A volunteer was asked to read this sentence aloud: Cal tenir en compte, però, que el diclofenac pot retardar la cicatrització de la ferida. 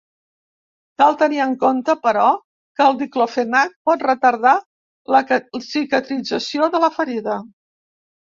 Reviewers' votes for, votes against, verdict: 0, 2, rejected